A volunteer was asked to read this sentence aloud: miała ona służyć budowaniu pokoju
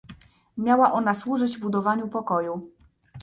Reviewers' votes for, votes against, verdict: 2, 0, accepted